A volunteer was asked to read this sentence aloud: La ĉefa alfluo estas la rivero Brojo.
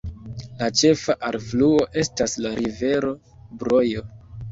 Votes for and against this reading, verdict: 2, 1, accepted